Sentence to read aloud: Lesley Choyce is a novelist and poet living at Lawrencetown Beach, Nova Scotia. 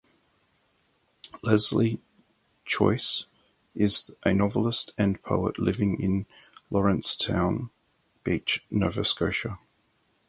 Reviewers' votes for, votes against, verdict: 2, 2, rejected